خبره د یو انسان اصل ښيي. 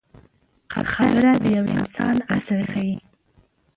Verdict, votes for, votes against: rejected, 0, 2